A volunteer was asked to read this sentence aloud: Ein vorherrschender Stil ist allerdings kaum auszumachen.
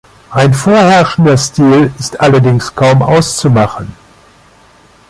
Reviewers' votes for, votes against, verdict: 2, 0, accepted